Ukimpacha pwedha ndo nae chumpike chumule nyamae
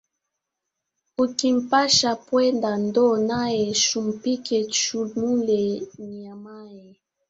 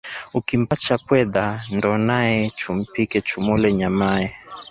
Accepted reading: second